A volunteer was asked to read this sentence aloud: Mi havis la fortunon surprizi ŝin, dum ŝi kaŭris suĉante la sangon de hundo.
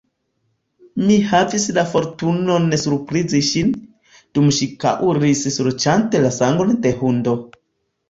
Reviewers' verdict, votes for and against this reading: accepted, 2, 0